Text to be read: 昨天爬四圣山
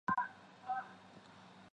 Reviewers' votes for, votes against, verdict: 0, 2, rejected